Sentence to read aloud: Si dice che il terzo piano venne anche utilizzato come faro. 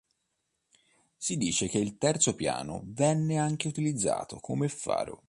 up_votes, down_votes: 2, 0